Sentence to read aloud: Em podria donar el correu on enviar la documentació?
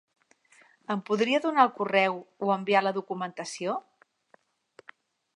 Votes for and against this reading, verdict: 0, 3, rejected